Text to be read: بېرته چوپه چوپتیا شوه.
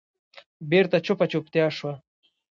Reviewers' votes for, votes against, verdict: 2, 1, accepted